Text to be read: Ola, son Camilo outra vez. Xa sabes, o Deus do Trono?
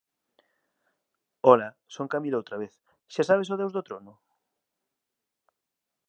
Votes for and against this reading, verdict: 0, 2, rejected